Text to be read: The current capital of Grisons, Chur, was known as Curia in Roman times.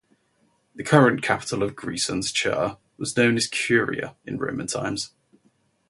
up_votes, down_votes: 2, 0